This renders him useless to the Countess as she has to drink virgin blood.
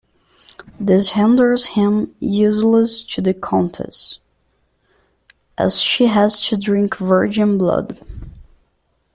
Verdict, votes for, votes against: accepted, 2, 1